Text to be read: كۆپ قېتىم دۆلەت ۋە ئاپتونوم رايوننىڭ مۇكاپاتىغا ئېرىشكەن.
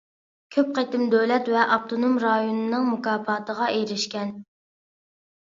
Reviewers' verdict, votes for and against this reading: accepted, 2, 0